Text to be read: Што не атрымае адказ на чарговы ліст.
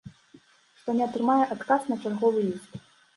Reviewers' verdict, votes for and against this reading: accepted, 2, 0